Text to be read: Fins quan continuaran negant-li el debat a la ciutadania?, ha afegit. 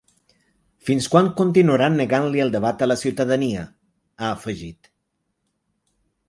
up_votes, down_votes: 4, 0